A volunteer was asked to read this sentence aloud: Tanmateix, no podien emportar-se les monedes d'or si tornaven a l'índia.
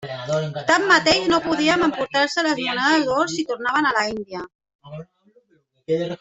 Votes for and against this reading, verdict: 0, 2, rejected